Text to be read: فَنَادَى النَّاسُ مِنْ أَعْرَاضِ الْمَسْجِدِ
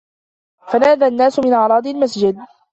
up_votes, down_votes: 2, 0